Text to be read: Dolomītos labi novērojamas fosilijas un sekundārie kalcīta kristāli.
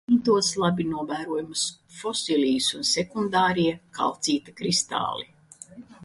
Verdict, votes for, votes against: rejected, 0, 2